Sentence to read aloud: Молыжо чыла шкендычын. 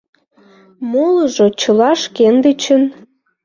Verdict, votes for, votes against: accepted, 2, 0